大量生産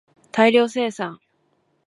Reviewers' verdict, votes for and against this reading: accepted, 2, 0